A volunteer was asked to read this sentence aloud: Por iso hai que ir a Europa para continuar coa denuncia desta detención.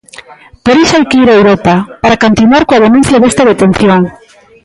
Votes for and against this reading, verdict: 1, 2, rejected